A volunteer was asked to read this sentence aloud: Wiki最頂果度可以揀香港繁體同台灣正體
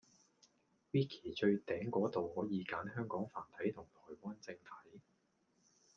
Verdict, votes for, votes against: rejected, 1, 2